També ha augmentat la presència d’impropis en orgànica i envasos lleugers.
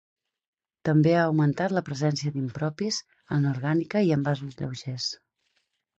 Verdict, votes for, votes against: accepted, 6, 0